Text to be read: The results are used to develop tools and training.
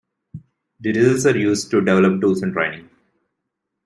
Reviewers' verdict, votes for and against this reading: accepted, 2, 0